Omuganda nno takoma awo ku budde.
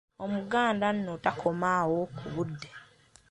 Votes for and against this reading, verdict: 2, 0, accepted